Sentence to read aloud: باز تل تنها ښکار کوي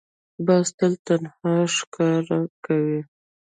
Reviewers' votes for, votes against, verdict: 1, 2, rejected